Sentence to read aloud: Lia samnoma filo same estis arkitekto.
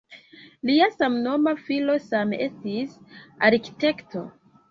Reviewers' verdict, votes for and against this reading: accepted, 2, 0